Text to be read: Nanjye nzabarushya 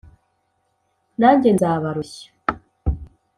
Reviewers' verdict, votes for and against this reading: accepted, 2, 0